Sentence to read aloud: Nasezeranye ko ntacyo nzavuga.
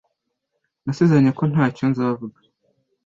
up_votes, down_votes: 2, 0